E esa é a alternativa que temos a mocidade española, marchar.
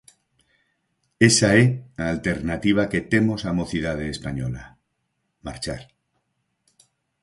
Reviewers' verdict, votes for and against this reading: rejected, 0, 4